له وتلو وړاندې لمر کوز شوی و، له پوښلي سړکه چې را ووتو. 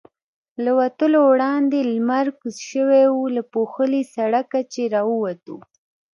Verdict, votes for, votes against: rejected, 1, 2